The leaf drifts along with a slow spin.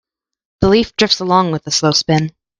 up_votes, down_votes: 2, 0